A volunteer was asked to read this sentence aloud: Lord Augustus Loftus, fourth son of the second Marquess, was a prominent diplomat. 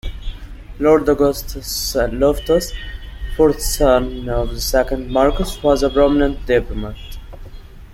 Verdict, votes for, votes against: accepted, 2, 0